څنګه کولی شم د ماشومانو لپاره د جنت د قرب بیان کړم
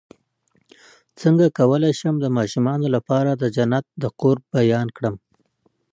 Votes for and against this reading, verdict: 2, 1, accepted